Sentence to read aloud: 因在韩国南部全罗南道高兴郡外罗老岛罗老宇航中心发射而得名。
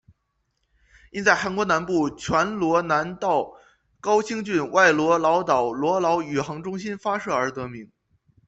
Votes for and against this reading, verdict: 2, 0, accepted